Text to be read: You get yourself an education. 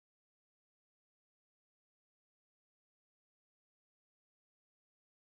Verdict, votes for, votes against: rejected, 0, 3